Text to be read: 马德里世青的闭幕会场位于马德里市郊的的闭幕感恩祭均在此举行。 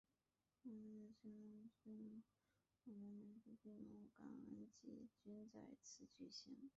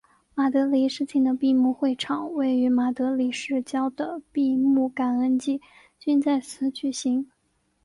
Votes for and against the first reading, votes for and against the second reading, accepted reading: 0, 3, 3, 1, second